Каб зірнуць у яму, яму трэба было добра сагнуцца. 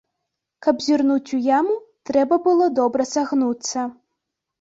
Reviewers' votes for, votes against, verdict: 0, 2, rejected